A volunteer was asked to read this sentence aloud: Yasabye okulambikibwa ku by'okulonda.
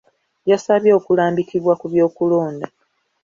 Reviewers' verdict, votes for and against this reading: accepted, 2, 0